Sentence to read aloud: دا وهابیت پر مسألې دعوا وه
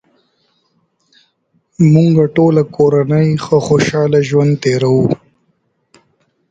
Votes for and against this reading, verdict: 0, 2, rejected